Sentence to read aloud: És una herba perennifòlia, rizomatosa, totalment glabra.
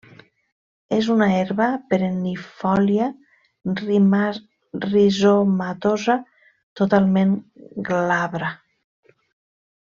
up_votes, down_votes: 0, 2